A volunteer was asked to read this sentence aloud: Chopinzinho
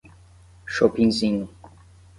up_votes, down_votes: 10, 0